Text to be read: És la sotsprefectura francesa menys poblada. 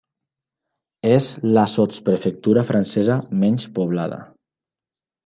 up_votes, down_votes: 3, 0